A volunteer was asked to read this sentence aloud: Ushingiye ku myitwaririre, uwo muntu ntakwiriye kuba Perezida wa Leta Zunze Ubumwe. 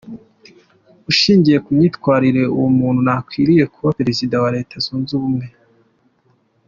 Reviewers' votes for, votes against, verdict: 2, 1, accepted